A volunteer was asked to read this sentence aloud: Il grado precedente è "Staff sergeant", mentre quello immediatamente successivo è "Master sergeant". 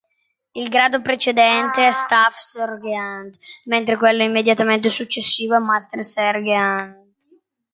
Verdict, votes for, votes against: rejected, 1, 2